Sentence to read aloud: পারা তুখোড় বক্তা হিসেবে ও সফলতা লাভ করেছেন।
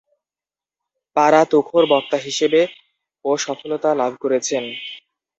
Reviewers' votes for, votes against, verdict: 2, 0, accepted